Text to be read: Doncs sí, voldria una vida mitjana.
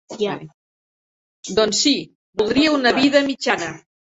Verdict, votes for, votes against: rejected, 1, 2